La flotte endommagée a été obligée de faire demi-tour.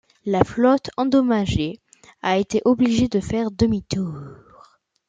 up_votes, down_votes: 2, 0